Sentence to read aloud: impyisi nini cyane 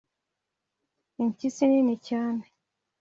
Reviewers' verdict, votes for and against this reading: accepted, 2, 0